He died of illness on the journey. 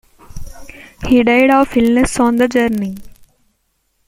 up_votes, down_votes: 2, 1